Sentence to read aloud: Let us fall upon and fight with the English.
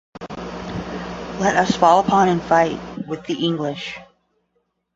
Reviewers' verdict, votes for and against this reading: rejected, 0, 5